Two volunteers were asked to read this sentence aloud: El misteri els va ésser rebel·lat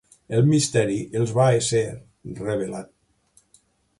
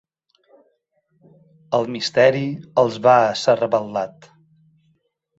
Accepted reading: first